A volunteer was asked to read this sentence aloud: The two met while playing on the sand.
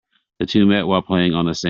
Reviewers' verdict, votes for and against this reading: rejected, 0, 2